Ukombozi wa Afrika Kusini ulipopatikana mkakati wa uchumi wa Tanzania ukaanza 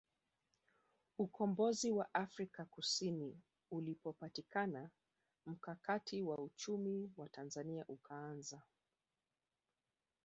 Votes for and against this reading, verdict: 3, 0, accepted